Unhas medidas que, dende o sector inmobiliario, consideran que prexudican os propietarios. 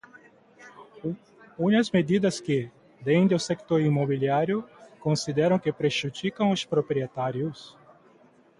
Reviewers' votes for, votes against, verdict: 0, 2, rejected